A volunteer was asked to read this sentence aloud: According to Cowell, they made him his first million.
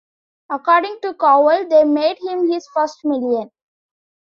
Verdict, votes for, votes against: accepted, 2, 0